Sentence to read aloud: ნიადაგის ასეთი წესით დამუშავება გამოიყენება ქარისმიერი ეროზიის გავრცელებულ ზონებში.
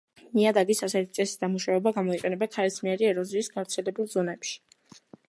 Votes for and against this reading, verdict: 2, 0, accepted